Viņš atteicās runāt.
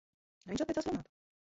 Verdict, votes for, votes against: rejected, 0, 2